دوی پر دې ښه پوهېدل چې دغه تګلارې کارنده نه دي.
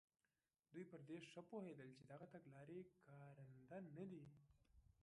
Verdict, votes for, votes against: accepted, 2, 0